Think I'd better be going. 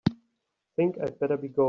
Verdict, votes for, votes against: rejected, 2, 3